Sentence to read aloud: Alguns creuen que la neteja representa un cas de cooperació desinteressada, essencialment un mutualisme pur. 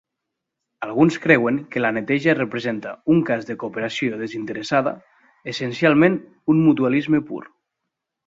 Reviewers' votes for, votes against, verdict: 2, 0, accepted